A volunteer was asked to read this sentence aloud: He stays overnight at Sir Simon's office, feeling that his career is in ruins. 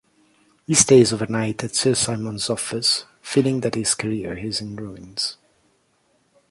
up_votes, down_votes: 2, 0